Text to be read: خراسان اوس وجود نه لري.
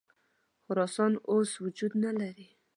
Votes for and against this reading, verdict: 3, 0, accepted